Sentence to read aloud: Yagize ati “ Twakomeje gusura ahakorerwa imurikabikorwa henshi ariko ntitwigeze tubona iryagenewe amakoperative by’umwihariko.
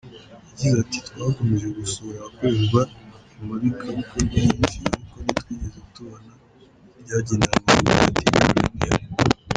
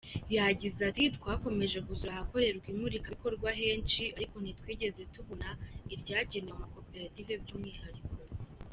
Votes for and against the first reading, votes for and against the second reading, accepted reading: 0, 3, 2, 1, second